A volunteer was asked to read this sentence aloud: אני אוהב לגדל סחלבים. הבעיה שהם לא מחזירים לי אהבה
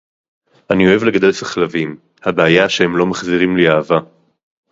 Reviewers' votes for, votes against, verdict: 2, 0, accepted